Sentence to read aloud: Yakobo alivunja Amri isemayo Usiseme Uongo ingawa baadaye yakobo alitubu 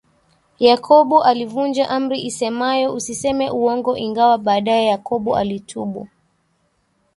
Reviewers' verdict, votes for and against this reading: accepted, 2, 1